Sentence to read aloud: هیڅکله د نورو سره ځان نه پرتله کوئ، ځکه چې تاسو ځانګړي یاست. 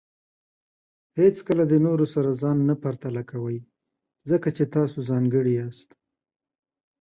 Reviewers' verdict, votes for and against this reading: accepted, 2, 0